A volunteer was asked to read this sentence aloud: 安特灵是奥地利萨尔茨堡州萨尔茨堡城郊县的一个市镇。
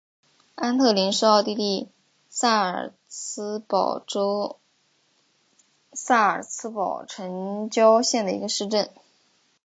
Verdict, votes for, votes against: accepted, 2, 0